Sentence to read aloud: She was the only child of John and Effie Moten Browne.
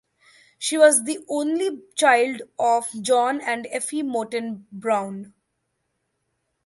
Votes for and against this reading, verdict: 2, 1, accepted